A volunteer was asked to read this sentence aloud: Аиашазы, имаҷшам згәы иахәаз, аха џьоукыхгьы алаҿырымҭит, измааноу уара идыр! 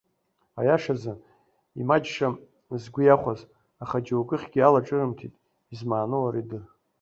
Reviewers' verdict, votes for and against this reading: accepted, 2, 0